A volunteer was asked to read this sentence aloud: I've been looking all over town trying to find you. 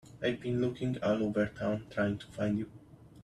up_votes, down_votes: 1, 2